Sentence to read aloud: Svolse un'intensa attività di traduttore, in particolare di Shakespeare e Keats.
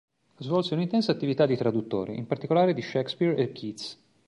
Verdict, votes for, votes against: accepted, 2, 0